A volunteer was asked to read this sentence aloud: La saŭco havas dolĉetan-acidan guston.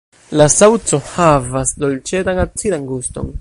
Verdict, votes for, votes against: rejected, 1, 2